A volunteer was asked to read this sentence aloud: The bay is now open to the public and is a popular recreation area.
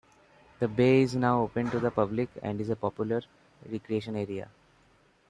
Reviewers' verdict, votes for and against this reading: accepted, 2, 0